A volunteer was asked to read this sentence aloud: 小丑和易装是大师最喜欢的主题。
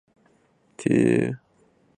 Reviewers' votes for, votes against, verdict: 1, 6, rejected